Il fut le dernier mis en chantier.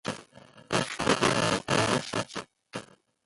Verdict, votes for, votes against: rejected, 0, 2